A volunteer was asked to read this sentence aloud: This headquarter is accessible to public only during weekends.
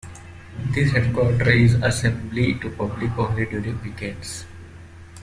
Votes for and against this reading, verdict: 0, 2, rejected